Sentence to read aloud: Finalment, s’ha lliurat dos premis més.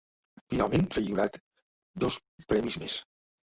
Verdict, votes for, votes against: rejected, 0, 2